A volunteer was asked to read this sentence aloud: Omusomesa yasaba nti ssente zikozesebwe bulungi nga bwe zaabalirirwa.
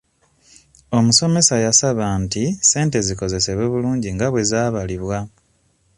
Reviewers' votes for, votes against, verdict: 2, 0, accepted